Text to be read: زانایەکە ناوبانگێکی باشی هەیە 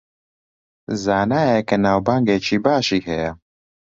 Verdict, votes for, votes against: accepted, 2, 0